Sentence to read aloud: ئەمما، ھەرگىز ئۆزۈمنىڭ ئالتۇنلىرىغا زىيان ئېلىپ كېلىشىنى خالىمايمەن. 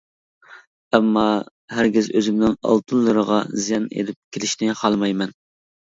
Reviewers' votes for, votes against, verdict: 2, 0, accepted